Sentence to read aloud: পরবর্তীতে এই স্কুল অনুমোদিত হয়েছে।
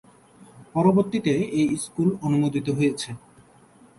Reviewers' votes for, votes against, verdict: 3, 0, accepted